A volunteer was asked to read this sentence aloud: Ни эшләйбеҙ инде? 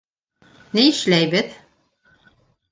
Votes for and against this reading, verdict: 2, 3, rejected